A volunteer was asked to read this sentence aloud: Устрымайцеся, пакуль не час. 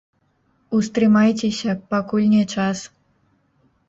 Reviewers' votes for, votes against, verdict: 0, 2, rejected